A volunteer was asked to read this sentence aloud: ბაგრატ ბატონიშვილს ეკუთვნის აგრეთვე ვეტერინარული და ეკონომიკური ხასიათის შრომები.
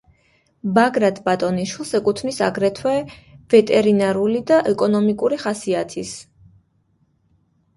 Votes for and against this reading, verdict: 1, 2, rejected